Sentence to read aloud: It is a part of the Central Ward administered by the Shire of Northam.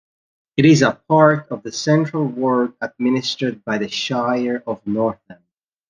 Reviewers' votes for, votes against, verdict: 2, 1, accepted